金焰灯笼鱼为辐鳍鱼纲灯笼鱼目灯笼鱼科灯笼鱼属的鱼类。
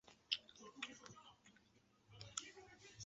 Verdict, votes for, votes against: rejected, 0, 3